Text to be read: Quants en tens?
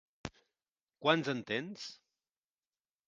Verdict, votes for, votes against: accepted, 2, 0